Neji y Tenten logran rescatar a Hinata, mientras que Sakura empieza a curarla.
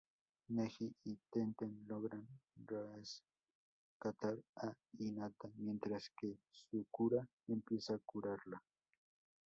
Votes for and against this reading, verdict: 0, 2, rejected